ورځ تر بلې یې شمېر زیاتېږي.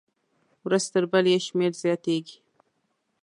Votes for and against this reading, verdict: 2, 0, accepted